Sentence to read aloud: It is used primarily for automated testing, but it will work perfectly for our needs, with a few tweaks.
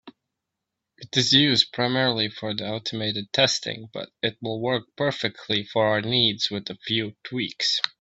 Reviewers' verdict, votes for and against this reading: accepted, 2, 0